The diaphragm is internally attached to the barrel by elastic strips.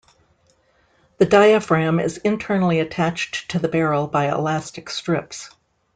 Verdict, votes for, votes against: accepted, 2, 0